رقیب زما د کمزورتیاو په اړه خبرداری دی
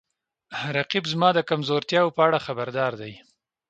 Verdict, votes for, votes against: accepted, 2, 0